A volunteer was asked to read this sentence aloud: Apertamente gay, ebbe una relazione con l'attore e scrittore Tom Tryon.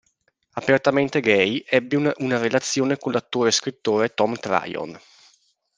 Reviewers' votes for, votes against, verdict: 0, 2, rejected